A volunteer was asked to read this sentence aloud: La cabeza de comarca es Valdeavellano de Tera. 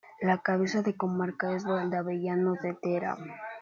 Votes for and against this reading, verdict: 1, 2, rejected